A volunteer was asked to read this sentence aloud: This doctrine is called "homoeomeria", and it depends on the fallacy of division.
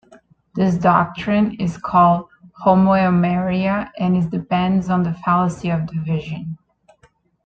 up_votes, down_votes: 2, 1